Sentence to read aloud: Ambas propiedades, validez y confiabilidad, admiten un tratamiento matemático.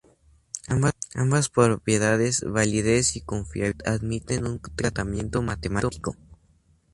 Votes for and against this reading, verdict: 0, 2, rejected